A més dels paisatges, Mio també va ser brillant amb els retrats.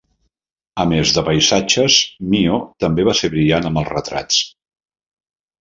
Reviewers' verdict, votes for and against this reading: rejected, 0, 2